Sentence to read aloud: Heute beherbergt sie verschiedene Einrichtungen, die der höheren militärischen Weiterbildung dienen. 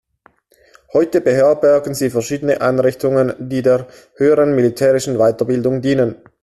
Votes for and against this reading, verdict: 0, 2, rejected